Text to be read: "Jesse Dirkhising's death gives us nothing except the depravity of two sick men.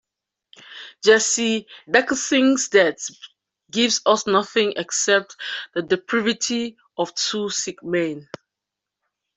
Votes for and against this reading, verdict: 2, 0, accepted